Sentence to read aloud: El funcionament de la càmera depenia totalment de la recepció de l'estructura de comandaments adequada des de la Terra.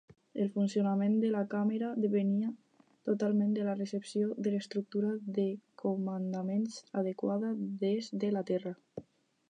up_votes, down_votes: 4, 0